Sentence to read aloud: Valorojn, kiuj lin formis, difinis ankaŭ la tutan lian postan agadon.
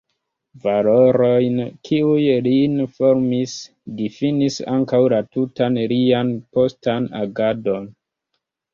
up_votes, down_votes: 1, 2